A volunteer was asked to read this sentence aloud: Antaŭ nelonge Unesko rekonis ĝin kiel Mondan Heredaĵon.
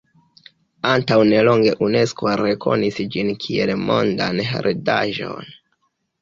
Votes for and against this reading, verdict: 0, 2, rejected